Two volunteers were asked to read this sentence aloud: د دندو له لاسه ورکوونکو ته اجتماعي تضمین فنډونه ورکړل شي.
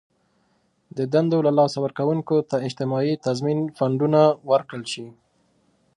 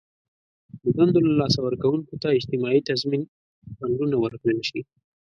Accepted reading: first